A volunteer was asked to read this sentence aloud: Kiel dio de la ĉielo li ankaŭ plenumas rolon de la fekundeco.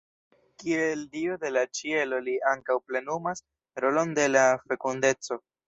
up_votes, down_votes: 1, 2